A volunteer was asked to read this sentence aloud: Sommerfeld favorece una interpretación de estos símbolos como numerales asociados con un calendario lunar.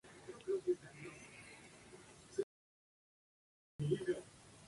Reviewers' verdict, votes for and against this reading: rejected, 0, 2